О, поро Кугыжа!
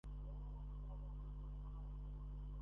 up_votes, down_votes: 0, 2